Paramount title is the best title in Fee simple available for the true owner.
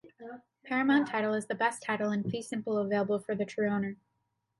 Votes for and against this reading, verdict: 2, 0, accepted